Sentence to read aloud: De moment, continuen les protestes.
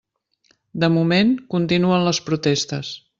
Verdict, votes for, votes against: accepted, 3, 0